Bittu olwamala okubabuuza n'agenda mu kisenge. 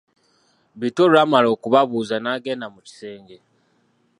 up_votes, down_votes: 2, 1